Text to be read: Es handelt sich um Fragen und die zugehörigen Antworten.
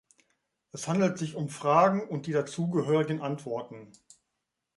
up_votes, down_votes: 0, 2